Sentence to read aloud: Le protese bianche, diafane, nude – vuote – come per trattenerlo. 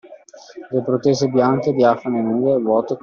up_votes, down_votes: 0, 2